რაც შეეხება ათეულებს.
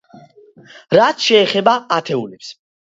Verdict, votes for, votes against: accepted, 2, 0